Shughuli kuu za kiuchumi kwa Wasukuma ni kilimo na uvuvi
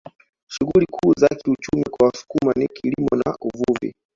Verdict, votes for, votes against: rejected, 1, 2